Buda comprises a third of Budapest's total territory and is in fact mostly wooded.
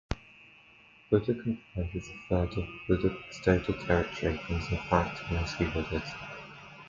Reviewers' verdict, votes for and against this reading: rejected, 0, 2